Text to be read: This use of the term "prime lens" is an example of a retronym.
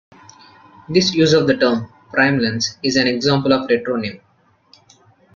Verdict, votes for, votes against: rejected, 1, 2